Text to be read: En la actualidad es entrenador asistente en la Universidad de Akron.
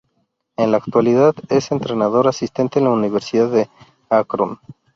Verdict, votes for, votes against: rejected, 0, 2